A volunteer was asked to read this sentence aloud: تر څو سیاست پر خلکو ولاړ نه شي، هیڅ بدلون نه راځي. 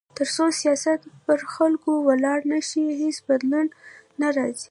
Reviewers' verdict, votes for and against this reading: accepted, 2, 1